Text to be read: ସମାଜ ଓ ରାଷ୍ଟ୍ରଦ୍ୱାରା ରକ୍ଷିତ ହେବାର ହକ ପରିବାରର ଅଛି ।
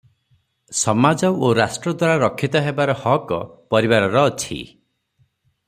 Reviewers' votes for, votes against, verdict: 0, 3, rejected